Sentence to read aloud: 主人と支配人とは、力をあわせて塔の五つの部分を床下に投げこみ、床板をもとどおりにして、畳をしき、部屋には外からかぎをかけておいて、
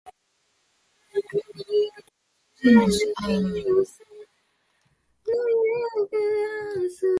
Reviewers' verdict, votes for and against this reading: rejected, 0, 2